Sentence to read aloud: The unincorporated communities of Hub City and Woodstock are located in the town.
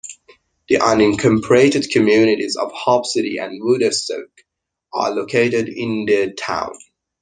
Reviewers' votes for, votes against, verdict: 1, 2, rejected